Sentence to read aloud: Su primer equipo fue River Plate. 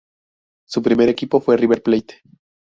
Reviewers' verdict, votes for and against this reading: rejected, 0, 2